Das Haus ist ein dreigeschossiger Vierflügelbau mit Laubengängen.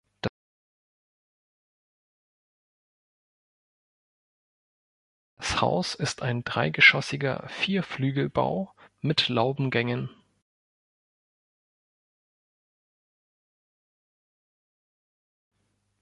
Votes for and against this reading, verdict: 0, 2, rejected